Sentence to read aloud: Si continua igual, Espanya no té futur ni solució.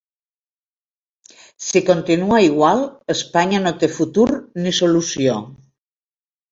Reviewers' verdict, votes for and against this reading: accepted, 4, 0